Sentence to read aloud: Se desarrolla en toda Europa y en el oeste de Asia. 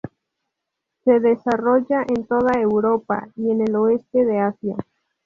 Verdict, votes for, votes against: rejected, 0, 2